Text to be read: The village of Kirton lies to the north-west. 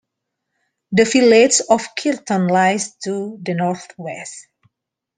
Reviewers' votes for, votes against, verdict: 2, 0, accepted